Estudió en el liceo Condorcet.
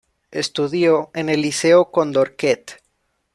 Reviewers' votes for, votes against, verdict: 1, 2, rejected